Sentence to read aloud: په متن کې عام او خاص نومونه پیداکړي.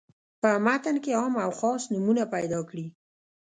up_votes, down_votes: 1, 2